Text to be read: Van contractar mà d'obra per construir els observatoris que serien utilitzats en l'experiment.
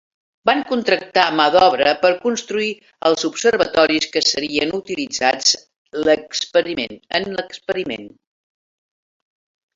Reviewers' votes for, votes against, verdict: 0, 2, rejected